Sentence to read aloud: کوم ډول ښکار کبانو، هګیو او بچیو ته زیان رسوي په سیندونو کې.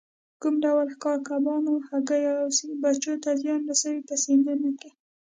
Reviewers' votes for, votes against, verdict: 2, 0, accepted